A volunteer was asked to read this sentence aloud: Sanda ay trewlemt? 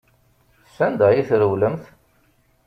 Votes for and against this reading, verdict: 2, 0, accepted